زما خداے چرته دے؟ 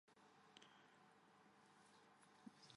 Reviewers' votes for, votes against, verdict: 0, 2, rejected